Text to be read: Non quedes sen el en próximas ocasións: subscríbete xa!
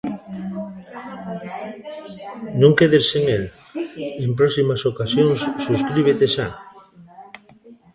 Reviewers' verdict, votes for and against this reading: rejected, 0, 2